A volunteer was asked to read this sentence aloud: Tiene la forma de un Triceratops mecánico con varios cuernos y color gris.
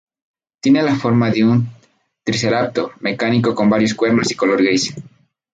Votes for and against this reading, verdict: 0, 2, rejected